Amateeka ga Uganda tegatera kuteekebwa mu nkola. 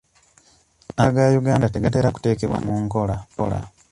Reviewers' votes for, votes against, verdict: 1, 2, rejected